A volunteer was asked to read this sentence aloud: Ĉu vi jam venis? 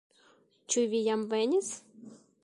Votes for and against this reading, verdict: 1, 2, rejected